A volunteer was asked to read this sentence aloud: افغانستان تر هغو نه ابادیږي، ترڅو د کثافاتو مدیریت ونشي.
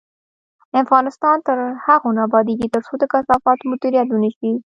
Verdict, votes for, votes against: accepted, 2, 1